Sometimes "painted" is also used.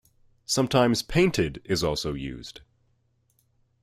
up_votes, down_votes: 2, 1